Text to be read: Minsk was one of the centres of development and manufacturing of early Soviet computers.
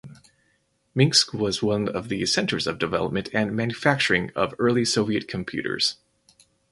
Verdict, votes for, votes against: rejected, 2, 2